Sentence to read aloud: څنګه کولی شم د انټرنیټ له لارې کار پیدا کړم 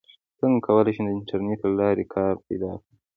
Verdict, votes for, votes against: accepted, 2, 0